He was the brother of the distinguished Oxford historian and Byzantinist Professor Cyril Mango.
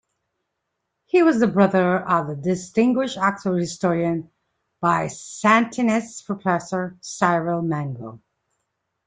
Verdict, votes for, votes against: rejected, 1, 2